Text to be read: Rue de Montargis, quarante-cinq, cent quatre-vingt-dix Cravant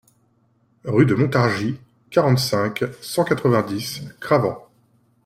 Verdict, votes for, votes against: accepted, 2, 0